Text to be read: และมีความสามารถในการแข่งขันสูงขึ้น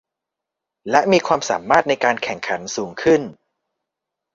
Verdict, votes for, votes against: accepted, 2, 0